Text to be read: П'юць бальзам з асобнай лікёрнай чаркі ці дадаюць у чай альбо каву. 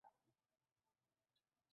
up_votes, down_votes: 0, 2